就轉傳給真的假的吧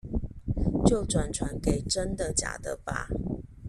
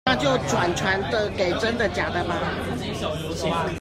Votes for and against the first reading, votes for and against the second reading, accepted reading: 2, 0, 0, 2, first